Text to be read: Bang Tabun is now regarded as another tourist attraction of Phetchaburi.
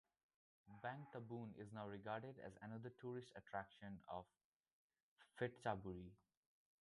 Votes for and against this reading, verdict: 1, 2, rejected